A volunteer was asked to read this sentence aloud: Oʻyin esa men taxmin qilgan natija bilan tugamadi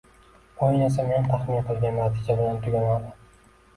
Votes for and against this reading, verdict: 1, 2, rejected